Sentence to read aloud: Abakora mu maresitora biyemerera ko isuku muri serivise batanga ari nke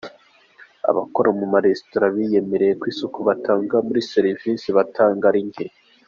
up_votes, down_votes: 3, 1